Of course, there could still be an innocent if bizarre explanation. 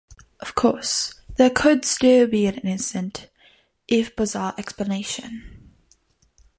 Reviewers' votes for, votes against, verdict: 3, 0, accepted